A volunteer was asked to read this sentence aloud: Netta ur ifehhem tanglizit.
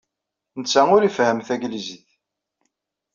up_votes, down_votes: 2, 0